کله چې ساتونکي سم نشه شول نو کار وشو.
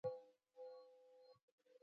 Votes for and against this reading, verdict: 1, 2, rejected